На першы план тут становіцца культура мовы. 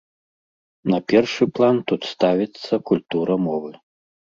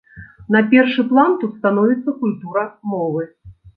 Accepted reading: second